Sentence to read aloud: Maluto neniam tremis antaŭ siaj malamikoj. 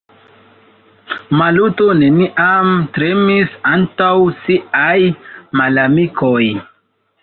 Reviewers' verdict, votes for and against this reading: accepted, 2, 0